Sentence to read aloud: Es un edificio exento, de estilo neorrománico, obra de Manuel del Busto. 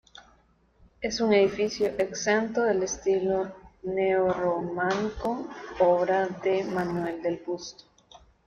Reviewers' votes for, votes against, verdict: 1, 2, rejected